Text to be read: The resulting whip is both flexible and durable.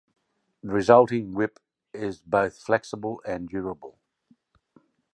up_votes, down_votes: 2, 1